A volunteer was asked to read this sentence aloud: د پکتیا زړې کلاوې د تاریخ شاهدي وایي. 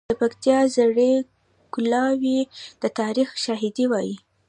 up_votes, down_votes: 0, 2